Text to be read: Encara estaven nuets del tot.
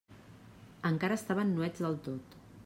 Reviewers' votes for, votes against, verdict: 2, 0, accepted